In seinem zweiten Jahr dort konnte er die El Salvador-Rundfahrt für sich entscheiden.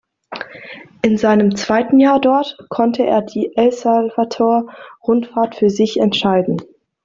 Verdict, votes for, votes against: rejected, 0, 2